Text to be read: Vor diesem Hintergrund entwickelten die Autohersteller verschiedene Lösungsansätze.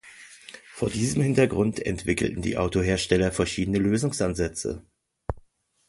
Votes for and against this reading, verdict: 2, 0, accepted